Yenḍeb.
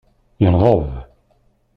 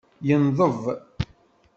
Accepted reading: second